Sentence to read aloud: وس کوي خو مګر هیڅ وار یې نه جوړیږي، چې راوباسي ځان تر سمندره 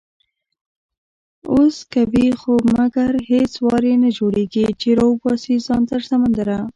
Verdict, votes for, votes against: rejected, 0, 2